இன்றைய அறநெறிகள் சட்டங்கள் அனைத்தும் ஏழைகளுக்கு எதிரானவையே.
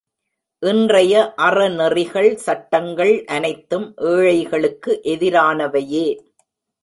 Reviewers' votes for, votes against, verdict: 2, 0, accepted